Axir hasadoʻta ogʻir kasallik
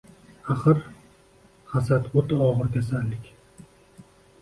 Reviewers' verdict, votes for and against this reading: accepted, 2, 1